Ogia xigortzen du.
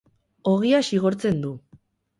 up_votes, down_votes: 2, 2